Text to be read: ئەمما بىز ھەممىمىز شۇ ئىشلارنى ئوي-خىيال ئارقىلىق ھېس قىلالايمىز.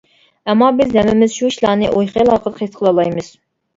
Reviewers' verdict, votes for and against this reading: rejected, 0, 2